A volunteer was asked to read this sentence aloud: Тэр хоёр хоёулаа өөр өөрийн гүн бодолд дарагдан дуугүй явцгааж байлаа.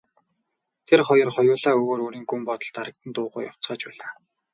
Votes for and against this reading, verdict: 2, 0, accepted